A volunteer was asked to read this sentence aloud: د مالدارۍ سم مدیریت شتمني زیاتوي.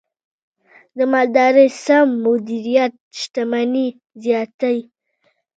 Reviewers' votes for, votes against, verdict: 2, 0, accepted